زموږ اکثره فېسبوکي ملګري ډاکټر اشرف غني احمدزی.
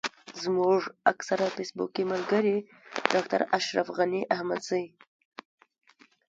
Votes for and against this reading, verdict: 0, 2, rejected